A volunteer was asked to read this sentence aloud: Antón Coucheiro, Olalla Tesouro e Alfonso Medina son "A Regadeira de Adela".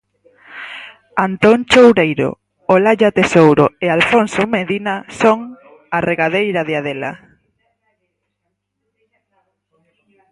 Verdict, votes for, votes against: rejected, 2, 4